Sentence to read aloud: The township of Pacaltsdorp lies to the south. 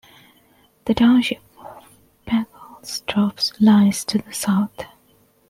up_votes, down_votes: 0, 2